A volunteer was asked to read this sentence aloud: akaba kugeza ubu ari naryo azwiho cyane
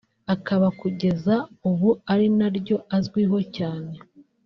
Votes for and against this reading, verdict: 1, 2, rejected